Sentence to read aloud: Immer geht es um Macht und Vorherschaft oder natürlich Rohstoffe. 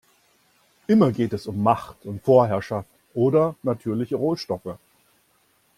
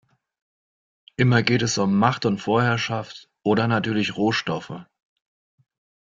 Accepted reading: second